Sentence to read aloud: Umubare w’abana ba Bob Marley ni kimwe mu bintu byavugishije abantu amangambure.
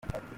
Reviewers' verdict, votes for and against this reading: rejected, 0, 2